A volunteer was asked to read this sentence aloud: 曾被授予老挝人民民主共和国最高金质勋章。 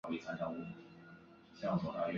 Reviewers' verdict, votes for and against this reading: rejected, 1, 2